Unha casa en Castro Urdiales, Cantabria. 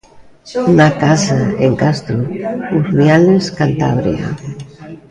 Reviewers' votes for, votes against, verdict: 0, 2, rejected